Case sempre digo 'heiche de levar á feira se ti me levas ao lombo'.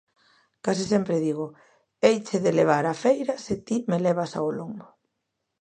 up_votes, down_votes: 2, 0